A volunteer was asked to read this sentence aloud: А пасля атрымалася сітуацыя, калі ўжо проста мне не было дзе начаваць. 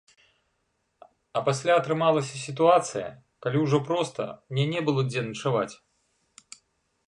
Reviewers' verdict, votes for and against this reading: rejected, 0, 2